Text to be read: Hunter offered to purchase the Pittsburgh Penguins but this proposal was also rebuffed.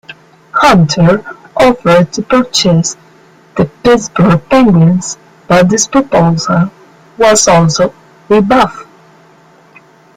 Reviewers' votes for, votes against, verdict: 1, 2, rejected